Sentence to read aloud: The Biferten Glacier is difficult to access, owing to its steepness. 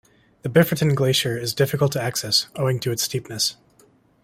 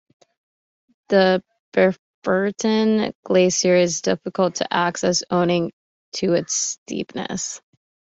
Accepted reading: first